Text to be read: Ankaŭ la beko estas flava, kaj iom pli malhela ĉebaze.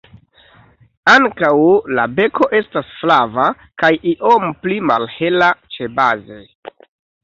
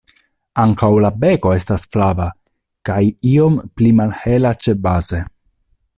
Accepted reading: second